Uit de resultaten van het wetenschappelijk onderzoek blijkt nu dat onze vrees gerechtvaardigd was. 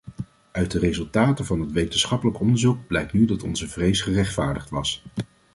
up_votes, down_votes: 2, 0